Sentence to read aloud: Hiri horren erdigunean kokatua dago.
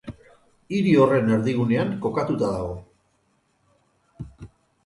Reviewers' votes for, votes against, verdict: 0, 4, rejected